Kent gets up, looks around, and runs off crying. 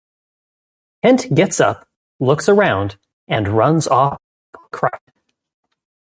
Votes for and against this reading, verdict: 0, 2, rejected